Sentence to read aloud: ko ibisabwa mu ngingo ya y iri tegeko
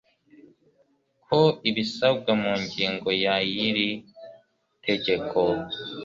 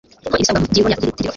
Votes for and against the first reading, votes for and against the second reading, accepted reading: 2, 1, 0, 2, first